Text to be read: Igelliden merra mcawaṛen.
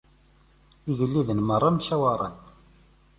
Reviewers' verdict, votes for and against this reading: accepted, 2, 0